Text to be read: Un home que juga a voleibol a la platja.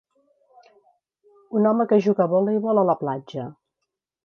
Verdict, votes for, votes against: accepted, 2, 0